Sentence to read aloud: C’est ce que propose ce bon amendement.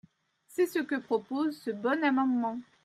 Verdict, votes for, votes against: accepted, 2, 0